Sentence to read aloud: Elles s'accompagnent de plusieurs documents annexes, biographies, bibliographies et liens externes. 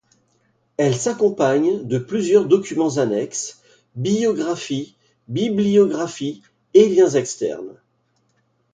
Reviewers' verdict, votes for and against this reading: accepted, 2, 0